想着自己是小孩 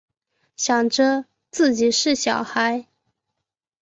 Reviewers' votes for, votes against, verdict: 6, 1, accepted